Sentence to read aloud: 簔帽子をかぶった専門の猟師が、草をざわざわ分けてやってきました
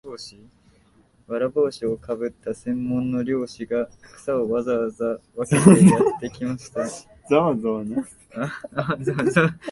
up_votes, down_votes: 0, 2